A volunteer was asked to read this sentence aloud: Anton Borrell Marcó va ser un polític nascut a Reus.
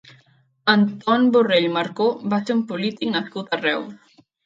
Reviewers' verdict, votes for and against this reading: rejected, 0, 2